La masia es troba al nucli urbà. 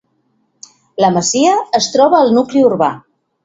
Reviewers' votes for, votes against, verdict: 2, 0, accepted